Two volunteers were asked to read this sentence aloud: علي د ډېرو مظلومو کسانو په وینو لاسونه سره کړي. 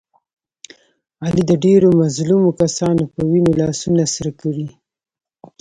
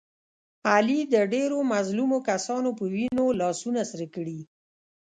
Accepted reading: first